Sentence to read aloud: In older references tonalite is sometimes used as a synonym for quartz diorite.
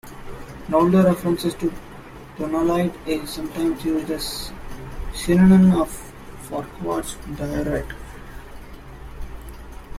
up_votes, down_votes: 1, 2